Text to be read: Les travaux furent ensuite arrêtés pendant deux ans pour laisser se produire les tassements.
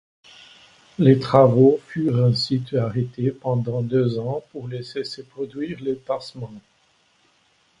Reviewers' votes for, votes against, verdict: 2, 0, accepted